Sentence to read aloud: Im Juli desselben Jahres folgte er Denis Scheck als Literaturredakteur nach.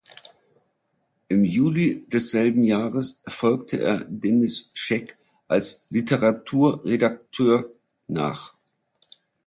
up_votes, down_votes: 2, 0